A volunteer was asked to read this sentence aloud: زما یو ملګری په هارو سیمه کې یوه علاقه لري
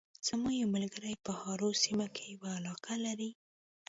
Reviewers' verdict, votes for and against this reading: rejected, 0, 2